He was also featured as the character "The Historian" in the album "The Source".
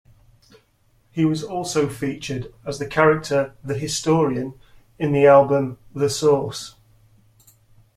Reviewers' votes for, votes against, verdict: 2, 0, accepted